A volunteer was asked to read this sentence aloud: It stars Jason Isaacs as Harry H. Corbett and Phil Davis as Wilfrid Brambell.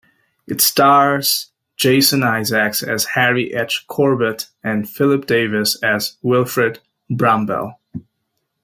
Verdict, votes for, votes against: rejected, 1, 2